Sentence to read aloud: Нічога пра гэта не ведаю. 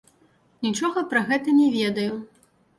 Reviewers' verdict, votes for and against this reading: rejected, 2, 3